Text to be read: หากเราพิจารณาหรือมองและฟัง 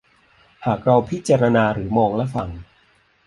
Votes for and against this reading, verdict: 2, 0, accepted